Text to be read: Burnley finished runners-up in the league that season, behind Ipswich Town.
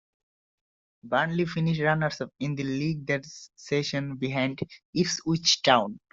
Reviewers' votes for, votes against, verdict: 1, 2, rejected